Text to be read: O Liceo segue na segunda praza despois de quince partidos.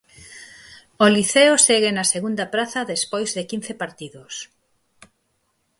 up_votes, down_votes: 6, 0